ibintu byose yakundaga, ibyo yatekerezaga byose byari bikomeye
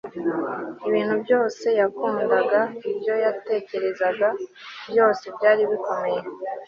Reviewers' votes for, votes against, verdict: 2, 0, accepted